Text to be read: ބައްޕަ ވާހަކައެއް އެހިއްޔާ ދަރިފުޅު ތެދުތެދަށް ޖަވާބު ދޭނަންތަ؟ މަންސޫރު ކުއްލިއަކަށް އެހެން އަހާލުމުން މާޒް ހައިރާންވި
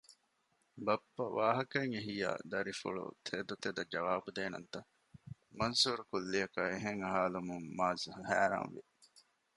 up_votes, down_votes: 2, 0